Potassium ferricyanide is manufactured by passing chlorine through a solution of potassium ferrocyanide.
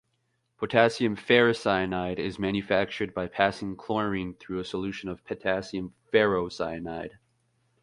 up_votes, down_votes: 2, 0